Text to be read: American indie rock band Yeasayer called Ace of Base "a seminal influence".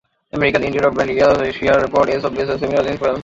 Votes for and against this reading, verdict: 0, 2, rejected